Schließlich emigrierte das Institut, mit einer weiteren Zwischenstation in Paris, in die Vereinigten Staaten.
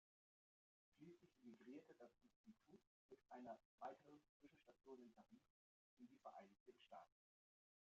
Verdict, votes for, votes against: rejected, 0, 2